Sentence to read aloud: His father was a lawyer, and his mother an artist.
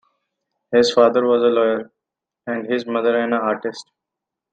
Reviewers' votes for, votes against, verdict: 2, 0, accepted